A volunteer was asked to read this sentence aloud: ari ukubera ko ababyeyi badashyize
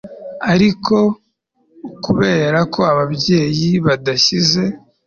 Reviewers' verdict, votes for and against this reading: accepted, 3, 0